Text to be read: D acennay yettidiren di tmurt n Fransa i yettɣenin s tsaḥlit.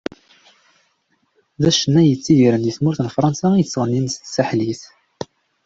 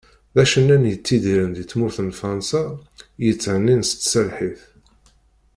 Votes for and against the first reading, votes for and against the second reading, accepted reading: 2, 0, 0, 2, first